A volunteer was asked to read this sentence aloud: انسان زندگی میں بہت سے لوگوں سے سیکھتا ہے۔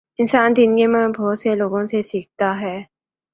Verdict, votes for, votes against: accepted, 2, 1